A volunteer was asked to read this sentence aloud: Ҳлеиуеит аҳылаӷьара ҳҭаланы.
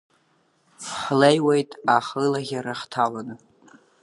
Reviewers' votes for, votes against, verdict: 2, 0, accepted